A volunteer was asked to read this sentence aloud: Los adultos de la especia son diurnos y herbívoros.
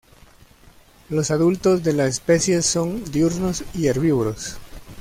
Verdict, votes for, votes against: rejected, 0, 2